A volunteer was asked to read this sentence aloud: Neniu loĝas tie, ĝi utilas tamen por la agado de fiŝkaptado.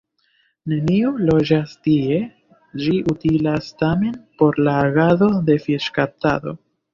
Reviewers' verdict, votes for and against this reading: rejected, 1, 2